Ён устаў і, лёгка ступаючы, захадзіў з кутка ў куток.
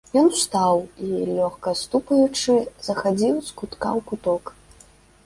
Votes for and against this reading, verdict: 0, 2, rejected